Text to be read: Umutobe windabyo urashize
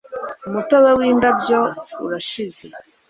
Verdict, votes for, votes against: accepted, 2, 0